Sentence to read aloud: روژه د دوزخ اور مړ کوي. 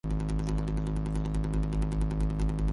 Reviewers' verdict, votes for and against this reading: rejected, 0, 2